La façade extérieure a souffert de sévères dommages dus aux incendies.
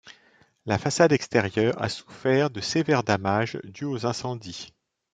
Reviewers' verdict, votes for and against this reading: rejected, 1, 2